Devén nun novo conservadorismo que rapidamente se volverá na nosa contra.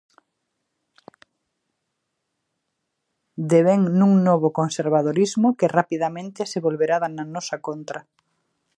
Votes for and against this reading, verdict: 0, 3, rejected